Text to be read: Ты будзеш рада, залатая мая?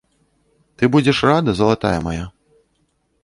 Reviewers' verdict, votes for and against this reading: accepted, 2, 0